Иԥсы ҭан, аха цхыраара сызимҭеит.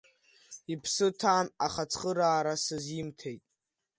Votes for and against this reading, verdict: 2, 0, accepted